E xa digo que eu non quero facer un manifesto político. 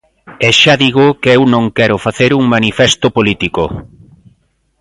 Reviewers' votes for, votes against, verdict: 3, 0, accepted